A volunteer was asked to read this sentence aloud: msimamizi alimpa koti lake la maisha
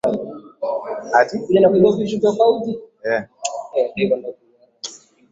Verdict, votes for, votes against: rejected, 0, 2